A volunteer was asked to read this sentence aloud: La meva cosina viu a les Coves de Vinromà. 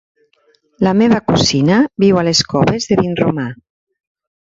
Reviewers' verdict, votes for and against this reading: rejected, 0, 2